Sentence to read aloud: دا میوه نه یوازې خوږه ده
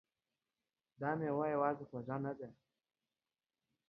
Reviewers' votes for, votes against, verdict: 2, 1, accepted